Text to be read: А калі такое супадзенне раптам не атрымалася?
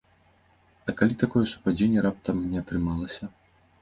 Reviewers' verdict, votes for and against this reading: accepted, 2, 0